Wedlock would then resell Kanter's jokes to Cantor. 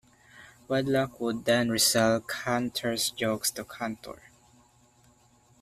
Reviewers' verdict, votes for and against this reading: accepted, 2, 1